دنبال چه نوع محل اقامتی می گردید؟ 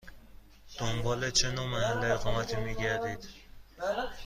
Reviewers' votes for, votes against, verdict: 2, 0, accepted